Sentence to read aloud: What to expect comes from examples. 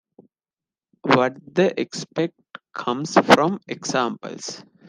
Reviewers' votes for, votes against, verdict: 0, 2, rejected